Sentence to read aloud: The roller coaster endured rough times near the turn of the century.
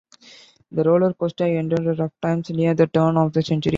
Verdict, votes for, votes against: rejected, 1, 2